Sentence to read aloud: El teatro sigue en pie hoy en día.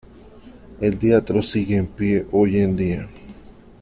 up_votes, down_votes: 2, 0